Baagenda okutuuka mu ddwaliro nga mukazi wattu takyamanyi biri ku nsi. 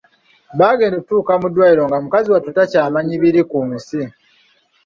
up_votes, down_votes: 1, 2